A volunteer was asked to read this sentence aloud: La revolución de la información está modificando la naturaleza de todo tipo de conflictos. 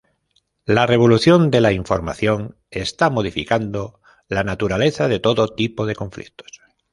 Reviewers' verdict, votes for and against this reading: accepted, 2, 0